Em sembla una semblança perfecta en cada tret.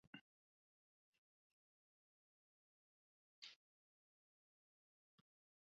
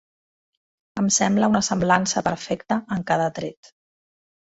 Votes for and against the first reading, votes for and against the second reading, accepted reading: 2, 5, 3, 0, second